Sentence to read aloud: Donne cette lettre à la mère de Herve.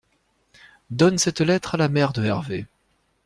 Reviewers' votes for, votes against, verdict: 2, 0, accepted